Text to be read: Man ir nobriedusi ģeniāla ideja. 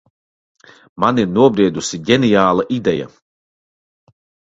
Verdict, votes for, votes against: accepted, 2, 0